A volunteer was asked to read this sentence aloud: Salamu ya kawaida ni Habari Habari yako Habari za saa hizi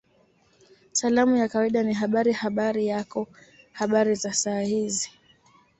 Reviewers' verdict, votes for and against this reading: accepted, 2, 0